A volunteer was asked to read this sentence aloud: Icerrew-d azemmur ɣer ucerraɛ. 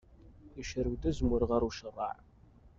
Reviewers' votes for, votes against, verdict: 2, 1, accepted